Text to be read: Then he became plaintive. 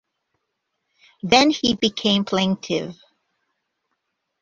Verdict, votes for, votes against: accepted, 2, 0